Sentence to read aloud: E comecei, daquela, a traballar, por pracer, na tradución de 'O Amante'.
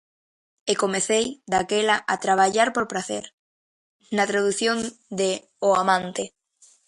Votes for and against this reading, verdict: 0, 2, rejected